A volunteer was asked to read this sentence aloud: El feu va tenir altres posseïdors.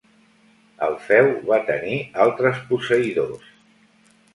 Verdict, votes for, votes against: accepted, 2, 0